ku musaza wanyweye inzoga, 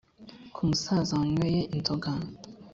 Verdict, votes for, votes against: accepted, 3, 0